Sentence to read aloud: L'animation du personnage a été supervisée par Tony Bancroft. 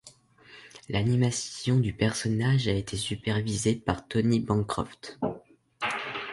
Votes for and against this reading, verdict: 2, 0, accepted